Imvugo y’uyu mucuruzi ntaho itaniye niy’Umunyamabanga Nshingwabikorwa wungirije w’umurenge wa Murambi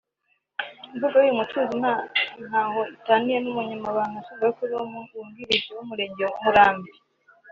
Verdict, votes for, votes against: rejected, 2, 3